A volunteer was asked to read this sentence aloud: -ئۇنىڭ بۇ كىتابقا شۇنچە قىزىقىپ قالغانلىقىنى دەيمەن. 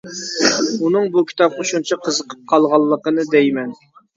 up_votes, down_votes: 2, 0